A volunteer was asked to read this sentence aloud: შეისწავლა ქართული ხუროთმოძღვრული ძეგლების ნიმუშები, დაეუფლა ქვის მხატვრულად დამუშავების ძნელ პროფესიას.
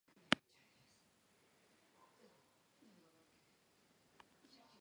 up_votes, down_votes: 2, 0